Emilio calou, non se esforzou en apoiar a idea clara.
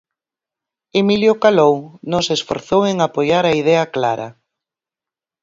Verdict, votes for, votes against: accepted, 4, 2